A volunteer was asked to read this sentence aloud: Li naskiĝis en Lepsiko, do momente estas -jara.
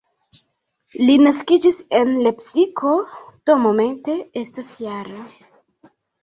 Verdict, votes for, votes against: accepted, 2, 0